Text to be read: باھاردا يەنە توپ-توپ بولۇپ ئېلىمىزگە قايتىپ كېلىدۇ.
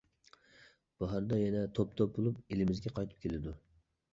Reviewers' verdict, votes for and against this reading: accepted, 2, 0